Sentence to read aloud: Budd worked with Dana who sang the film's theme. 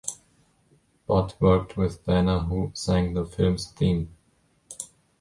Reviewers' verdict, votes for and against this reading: accepted, 2, 0